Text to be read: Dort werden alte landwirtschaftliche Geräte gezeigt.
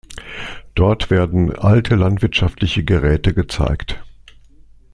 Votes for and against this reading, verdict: 2, 0, accepted